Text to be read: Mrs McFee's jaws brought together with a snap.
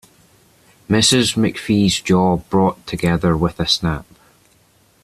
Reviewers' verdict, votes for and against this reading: rejected, 1, 2